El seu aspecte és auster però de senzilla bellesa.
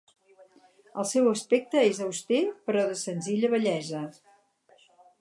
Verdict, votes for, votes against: rejected, 2, 2